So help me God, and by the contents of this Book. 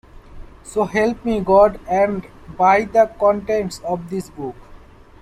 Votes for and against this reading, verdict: 2, 0, accepted